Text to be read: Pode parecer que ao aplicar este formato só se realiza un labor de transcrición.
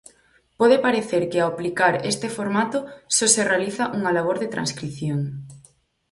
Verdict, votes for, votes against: rejected, 2, 4